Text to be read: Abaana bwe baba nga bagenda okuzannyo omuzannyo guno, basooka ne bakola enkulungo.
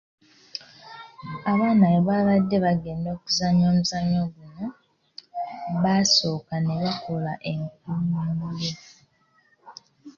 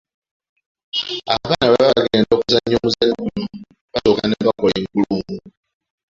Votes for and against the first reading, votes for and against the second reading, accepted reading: 3, 0, 1, 2, first